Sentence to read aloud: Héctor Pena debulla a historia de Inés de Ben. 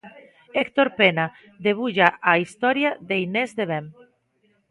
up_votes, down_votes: 2, 0